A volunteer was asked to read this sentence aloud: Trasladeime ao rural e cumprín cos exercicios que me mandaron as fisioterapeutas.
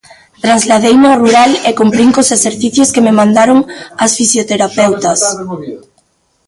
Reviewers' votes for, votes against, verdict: 1, 2, rejected